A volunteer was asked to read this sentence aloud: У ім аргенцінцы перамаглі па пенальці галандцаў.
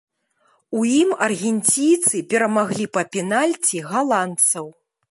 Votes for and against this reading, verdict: 0, 2, rejected